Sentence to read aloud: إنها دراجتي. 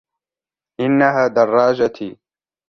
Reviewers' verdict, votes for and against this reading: accepted, 2, 0